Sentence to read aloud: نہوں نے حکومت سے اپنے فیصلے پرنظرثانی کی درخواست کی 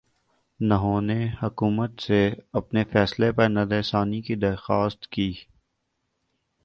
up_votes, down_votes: 3, 0